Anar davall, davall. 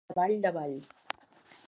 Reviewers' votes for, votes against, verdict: 0, 2, rejected